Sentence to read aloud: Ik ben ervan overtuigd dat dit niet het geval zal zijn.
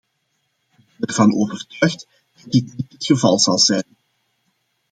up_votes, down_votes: 1, 2